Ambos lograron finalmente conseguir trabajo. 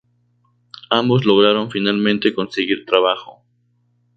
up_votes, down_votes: 2, 0